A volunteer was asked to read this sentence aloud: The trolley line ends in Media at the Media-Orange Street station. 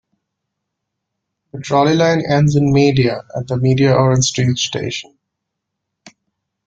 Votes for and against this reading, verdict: 2, 0, accepted